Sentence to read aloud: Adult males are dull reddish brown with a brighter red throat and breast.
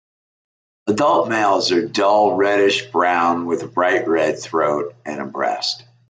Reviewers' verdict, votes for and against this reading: accepted, 2, 1